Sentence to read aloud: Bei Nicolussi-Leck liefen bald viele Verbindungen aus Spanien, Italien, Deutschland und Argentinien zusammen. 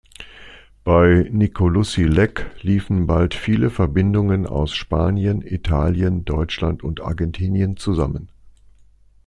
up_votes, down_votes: 2, 0